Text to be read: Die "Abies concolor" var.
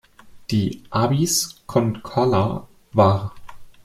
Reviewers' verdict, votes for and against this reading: rejected, 0, 2